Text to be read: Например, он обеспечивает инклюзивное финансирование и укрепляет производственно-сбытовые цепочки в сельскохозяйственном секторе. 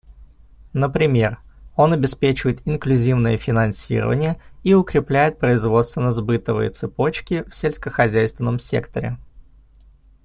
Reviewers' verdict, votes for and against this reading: accepted, 2, 0